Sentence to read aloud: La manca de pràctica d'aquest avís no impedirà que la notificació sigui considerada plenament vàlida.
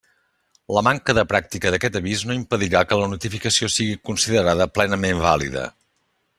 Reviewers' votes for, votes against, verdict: 3, 0, accepted